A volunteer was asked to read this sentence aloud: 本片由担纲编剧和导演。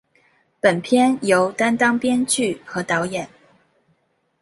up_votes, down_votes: 2, 0